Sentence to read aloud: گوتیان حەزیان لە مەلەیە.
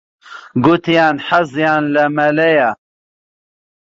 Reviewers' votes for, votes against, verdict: 2, 1, accepted